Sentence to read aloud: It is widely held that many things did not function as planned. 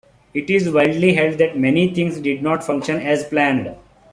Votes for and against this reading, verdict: 2, 0, accepted